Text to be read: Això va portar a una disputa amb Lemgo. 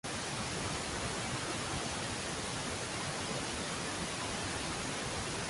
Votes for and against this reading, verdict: 0, 2, rejected